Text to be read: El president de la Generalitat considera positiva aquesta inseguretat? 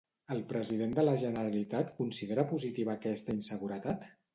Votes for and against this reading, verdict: 2, 0, accepted